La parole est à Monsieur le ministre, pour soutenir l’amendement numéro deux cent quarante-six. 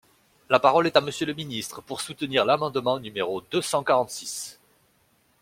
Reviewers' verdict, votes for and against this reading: accepted, 2, 0